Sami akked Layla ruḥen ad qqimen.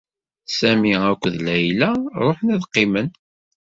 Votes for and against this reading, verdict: 2, 0, accepted